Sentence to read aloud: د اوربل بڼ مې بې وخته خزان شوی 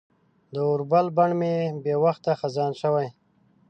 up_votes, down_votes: 2, 0